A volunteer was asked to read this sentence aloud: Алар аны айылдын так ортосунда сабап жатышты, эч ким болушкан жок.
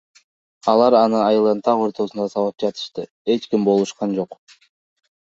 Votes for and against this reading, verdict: 2, 1, accepted